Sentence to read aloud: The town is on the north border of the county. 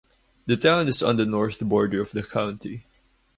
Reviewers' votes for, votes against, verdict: 2, 0, accepted